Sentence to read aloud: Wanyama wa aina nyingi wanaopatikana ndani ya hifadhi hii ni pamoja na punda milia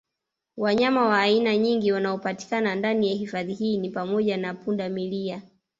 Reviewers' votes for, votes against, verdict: 2, 1, accepted